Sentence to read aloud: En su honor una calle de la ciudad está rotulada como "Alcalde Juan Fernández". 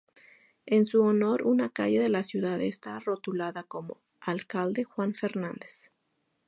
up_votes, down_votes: 2, 0